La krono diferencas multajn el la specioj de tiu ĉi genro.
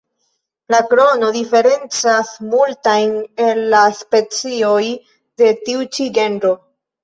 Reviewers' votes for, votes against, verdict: 2, 1, accepted